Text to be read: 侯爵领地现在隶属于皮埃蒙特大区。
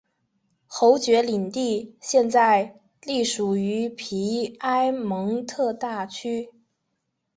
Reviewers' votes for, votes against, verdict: 2, 0, accepted